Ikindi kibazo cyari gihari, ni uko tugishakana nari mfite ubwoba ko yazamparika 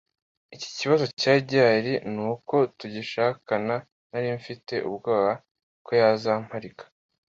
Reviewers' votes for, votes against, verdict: 0, 2, rejected